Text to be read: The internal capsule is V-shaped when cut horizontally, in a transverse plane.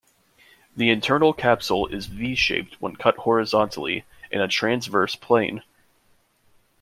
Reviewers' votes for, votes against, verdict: 2, 0, accepted